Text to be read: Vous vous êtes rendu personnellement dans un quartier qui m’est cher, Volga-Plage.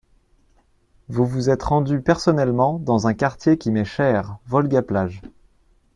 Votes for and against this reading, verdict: 2, 0, accepted